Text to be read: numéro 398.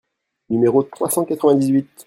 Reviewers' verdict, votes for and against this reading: rejected, 0, 2